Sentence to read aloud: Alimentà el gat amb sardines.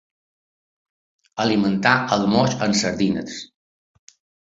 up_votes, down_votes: 1, 3